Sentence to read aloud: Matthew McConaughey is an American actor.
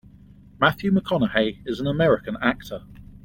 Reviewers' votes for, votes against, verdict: 1, 2, rejected